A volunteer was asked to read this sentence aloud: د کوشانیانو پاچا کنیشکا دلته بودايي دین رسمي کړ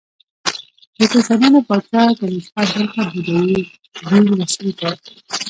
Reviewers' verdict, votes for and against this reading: rejected, 1, 2